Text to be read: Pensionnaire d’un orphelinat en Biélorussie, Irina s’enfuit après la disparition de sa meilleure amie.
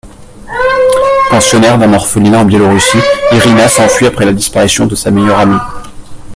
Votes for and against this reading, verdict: 1, 2, rejected